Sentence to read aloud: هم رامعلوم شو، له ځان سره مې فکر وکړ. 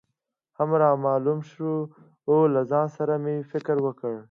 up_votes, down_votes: 2, 0